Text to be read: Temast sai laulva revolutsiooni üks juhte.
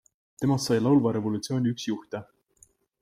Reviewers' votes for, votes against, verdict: 2, 0, accepted